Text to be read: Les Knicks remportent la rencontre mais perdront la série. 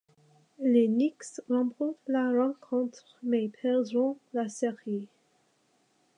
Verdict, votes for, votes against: rejected, 0, 2